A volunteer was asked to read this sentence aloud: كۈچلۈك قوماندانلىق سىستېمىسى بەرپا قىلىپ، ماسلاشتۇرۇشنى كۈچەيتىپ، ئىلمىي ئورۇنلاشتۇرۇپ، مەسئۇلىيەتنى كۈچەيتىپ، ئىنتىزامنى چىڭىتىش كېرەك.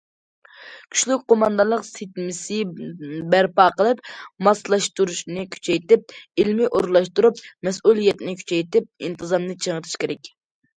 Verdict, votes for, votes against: rejected, 0, 2